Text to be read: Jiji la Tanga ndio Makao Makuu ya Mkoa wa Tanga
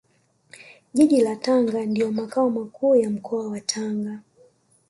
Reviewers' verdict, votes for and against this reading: rejected, 1, 2